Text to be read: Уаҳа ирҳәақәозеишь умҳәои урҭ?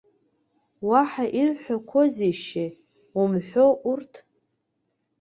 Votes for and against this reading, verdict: 2, 1, accepted